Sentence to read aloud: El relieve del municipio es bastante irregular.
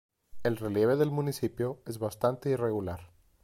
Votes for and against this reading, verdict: 2, 0, accepted